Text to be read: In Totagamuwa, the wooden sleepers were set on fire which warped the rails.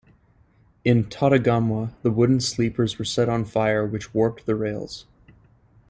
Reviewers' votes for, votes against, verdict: 2, 0, accepted